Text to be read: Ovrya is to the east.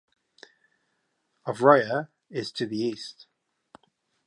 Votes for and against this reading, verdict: 2, 0, accepted